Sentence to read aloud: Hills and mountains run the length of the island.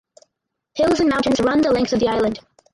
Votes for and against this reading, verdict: 2, 4, rejected